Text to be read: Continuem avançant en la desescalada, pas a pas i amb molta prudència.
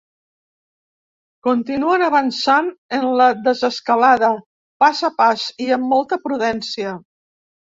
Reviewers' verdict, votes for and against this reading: rejected, 1, 2